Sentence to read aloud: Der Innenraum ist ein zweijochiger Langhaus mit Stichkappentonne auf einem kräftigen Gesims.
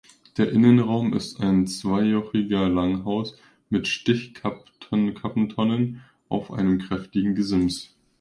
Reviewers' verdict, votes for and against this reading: rejected, 0, 2